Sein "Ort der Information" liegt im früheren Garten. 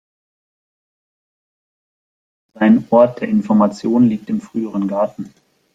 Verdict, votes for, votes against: accepted, 2, 1